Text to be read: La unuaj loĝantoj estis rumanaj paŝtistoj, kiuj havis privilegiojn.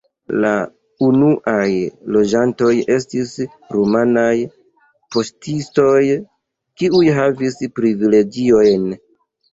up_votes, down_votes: 1, 2